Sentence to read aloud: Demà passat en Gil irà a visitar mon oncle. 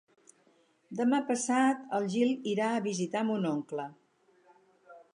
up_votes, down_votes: 2, 2